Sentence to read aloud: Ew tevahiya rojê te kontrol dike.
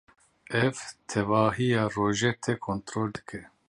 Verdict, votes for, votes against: rejected, 0, 2